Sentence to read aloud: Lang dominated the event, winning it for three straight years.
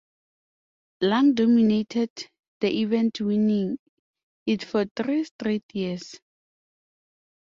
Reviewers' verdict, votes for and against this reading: accepted, 2, 0